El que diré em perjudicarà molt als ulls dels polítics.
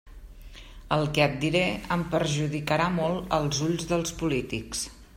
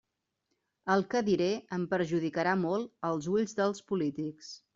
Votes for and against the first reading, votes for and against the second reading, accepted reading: 1, 2, 2, 0, second